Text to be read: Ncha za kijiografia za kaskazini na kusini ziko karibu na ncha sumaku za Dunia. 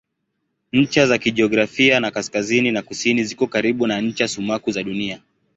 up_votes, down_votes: 2, 0